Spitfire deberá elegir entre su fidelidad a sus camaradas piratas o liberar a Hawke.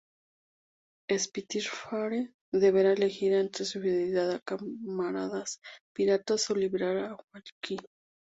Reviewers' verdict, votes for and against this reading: accepted, 2, 0